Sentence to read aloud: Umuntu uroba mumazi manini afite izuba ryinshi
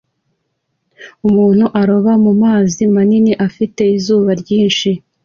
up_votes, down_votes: 2, 0